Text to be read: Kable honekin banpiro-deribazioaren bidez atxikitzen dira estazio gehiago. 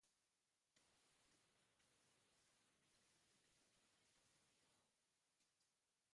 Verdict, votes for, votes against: rejected, 0, 2